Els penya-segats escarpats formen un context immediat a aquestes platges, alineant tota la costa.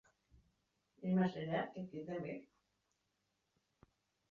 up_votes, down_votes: 0, 2